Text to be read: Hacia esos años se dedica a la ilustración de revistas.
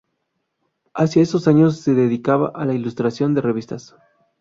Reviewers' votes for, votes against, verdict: 0, 2, rejected